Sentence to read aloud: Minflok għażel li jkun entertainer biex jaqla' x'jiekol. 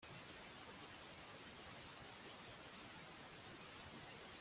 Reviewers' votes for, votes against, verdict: 0, 2, rejected